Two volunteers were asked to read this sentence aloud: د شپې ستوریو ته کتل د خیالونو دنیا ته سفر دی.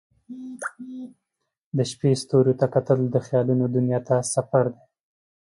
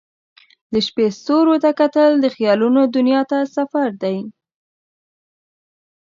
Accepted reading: second